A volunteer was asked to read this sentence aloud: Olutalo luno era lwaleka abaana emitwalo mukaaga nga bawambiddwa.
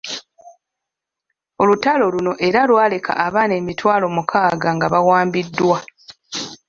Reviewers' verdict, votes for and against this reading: accepted, 2, 1